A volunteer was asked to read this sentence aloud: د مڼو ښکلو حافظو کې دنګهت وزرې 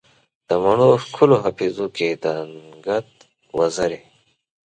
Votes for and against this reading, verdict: 2, 0, accepted